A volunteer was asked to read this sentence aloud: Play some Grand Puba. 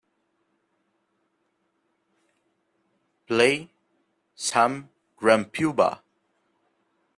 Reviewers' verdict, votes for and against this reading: rejected, 1, 2